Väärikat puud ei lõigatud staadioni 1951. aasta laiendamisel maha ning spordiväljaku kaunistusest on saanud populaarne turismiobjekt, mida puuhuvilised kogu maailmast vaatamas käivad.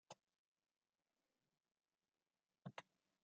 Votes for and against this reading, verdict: 0, 2, rejected